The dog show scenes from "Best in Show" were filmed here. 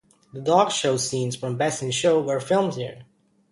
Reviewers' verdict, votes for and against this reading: accepted, 2, 0